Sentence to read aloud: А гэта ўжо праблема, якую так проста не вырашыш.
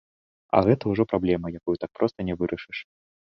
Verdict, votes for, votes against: accepted, 2, 0